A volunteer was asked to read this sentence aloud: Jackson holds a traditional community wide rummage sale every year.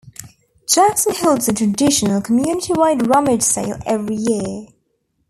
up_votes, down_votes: 2, 0